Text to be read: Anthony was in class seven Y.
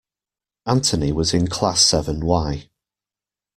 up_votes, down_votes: 2, 0